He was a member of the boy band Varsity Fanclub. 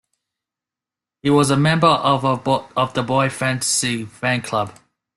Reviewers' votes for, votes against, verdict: 0, 2, rejected